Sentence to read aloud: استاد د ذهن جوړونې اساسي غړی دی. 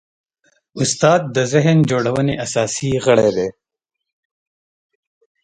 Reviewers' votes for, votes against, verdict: 2, 0, accepted